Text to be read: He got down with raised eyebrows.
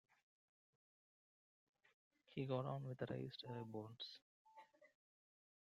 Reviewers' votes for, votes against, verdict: 0, 2, rejected